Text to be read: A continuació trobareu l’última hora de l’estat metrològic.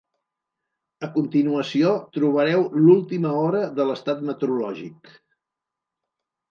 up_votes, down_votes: 0, 2